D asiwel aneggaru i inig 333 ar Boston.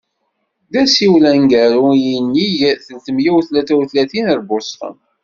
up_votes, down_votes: 0, 2